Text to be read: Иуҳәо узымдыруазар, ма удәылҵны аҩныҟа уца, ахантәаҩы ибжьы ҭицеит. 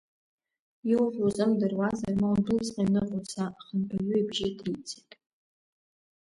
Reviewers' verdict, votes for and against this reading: rejected, 1, 2